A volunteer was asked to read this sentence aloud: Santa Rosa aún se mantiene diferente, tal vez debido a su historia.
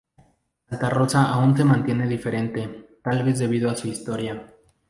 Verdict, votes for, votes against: rejected, 0, 2